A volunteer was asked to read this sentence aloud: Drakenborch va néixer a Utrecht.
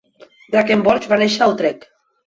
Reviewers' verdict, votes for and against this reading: rejected, 1, 2